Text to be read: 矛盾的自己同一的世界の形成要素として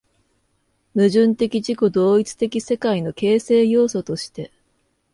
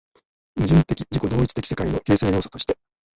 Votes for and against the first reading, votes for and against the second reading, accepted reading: 2, 0, 0, 2, first